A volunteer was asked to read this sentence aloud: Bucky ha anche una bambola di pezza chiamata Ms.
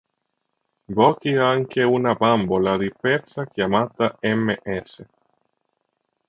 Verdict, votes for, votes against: rejected, 0, 2